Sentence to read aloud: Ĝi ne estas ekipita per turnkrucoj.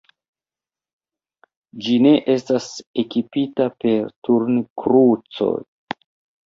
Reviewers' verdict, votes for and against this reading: accepted, 2, 1